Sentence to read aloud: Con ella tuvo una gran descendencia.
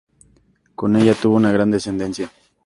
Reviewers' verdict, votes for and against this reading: accepted, 2, 0